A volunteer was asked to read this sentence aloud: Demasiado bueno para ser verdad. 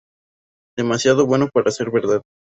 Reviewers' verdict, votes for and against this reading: accepted, 4, 0